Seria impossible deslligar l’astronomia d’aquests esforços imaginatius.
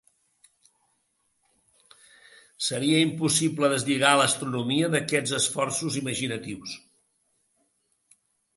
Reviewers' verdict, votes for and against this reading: accepted, 2, 0